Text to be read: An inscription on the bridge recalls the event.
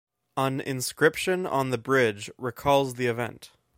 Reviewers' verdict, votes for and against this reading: accepted, 2, 0